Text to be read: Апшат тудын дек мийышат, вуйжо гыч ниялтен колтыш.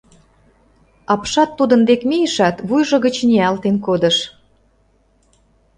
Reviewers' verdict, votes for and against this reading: rejected, 1, 2